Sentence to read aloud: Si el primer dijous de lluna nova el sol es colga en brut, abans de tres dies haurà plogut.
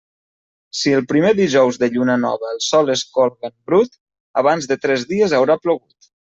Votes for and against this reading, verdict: 0, 2, rejected